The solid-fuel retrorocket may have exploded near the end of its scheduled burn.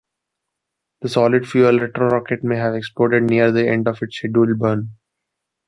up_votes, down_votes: 2, 1